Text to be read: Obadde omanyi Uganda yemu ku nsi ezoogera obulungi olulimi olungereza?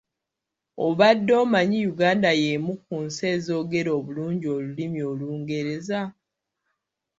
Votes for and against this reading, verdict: 2, 0, accepted